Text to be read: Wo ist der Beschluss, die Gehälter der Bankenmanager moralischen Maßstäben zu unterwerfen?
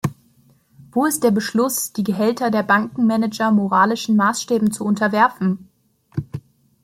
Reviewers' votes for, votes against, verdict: 2, 0, accepted